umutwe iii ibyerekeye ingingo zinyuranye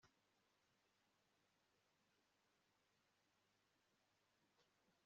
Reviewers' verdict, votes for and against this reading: rejected, 0, 2